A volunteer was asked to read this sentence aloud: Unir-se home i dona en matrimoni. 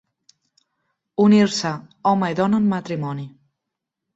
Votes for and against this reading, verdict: 2, 0, accepted